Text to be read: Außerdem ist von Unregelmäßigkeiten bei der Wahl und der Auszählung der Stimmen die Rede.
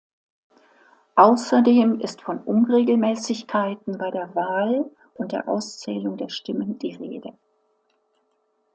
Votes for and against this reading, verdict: 2, 0, accepted